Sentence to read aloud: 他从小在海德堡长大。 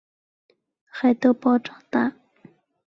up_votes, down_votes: 0, 3